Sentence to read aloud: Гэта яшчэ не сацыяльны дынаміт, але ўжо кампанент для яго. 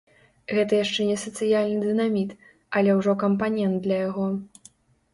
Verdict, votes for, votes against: accepted, 2, 0